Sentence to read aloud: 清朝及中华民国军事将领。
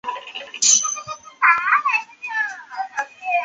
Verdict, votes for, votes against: rejected, 0, 2